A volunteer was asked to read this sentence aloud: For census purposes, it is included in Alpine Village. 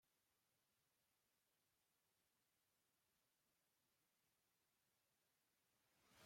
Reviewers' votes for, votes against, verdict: 1, 2, rejected